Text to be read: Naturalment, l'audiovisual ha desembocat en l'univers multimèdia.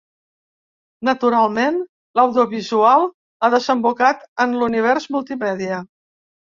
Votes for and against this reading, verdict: 0, 2, rejected